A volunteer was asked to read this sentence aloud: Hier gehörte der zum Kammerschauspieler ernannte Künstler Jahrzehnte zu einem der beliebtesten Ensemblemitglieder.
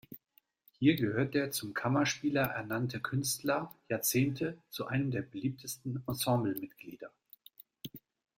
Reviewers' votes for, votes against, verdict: 0, 2, rejected